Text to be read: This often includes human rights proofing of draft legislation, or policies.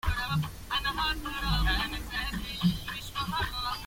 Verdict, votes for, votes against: rejected, 0, 2